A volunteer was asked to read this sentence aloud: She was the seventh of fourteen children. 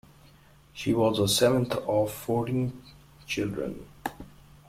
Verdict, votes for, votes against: accepted, 2, 0